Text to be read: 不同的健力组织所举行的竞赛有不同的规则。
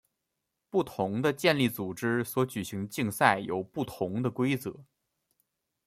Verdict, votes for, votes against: rejected, 1, 2